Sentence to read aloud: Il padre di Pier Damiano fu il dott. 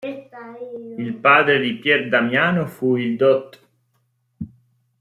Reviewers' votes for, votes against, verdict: 2, 0, accepted